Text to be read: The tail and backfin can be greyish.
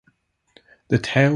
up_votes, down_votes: 0, 2